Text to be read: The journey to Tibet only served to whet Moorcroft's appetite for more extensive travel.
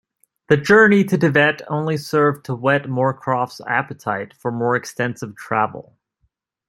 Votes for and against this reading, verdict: 2, 0, accepted